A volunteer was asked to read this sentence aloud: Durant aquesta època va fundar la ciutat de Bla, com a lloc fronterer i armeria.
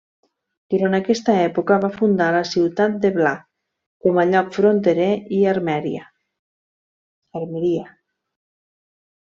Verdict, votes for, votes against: rejected, 0, 2